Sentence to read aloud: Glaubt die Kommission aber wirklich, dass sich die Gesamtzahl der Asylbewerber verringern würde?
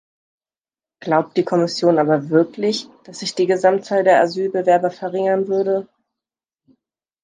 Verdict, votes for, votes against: accepted, 2, 0